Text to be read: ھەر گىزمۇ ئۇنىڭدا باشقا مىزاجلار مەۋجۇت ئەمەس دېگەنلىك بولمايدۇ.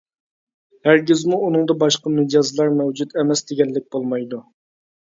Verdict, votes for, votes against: rejected, 0, 2